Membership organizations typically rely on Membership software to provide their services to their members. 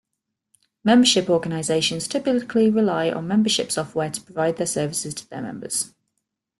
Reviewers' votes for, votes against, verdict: 2, 0, accepted